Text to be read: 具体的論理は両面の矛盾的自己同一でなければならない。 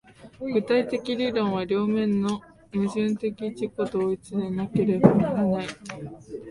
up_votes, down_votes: 3, 0